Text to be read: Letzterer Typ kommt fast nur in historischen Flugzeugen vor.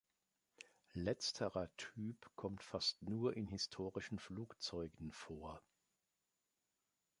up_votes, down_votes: 2, 0